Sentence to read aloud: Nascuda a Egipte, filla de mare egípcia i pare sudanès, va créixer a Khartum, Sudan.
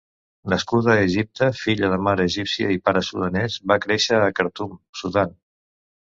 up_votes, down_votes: 2, 0